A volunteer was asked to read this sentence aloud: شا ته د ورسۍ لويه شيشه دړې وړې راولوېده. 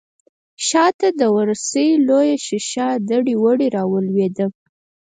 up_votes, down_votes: 0, 4